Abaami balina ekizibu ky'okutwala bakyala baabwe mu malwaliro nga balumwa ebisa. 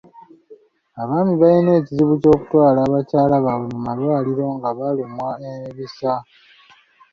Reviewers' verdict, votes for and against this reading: accepted, 2, 0